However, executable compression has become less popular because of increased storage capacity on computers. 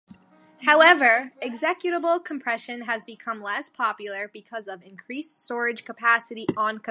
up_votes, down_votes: 1, 2